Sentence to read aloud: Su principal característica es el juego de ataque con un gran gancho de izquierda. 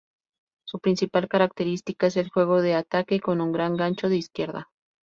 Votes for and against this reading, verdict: 2, 0, accepted